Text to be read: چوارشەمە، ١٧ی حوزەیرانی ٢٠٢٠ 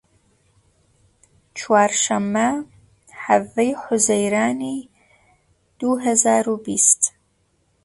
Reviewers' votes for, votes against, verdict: 0, 2, rejected